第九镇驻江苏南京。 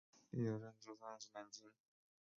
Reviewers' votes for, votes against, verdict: 0, 2, rejected